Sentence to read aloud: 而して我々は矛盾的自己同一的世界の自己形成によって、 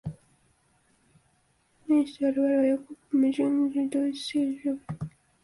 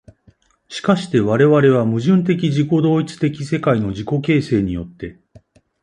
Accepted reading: second